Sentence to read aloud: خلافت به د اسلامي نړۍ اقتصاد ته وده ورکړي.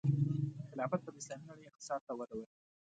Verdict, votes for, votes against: accepted, 2, 0